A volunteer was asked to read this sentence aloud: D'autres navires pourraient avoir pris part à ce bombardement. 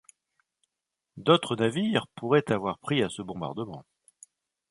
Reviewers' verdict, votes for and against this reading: rejected, 1, 2